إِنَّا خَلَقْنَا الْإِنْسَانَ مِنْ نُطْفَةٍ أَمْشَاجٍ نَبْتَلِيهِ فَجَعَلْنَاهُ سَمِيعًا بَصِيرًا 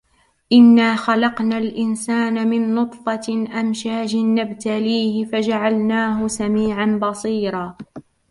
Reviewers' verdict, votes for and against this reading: rejected, 1, 2